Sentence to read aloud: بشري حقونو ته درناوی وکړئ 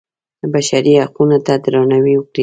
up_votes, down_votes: 2, 0